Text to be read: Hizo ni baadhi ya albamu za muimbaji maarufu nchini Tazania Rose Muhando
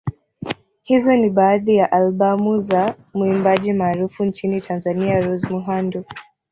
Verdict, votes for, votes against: rejected, 1, 2